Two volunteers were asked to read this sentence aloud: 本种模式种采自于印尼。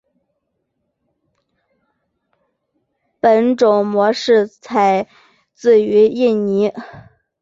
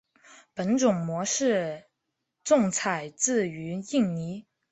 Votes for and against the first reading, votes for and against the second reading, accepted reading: 1, 3, 3, 0, second